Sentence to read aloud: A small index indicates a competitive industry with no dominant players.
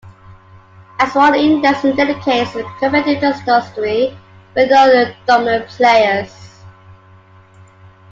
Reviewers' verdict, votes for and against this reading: rejected, 0, 2